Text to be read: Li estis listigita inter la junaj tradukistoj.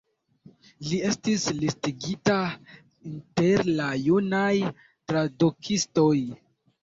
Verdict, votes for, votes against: rejected, 1, 2